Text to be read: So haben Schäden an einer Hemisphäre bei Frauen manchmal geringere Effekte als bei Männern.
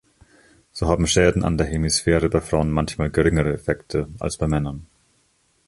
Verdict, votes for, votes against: rejected, 0, 2